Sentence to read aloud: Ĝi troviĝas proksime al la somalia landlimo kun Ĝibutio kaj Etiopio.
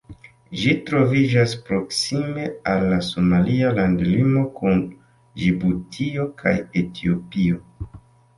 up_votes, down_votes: 2, 0